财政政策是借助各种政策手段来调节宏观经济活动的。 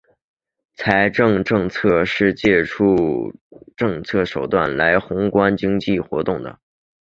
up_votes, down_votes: 0, 2